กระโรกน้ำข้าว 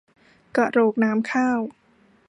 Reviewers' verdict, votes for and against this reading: rejected, 0, 2